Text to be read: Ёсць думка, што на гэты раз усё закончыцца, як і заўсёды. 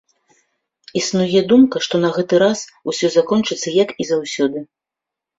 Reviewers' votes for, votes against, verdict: 0, 2, rejected